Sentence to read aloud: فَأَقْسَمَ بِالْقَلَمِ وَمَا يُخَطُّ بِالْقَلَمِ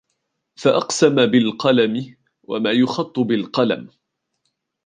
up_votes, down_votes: 2, 1